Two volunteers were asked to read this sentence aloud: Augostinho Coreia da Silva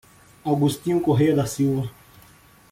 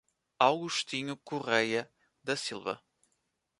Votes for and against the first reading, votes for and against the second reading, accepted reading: 0, 2, 2, 1, second